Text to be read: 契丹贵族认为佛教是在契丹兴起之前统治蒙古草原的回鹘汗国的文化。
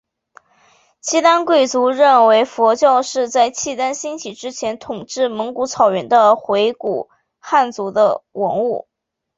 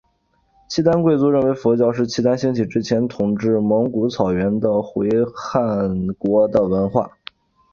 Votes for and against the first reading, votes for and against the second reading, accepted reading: 4, 0, 0, 2, first